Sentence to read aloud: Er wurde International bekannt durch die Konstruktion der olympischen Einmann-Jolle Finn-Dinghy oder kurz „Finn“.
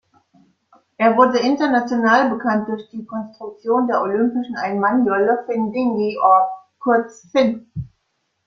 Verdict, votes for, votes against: accepted, 2, 1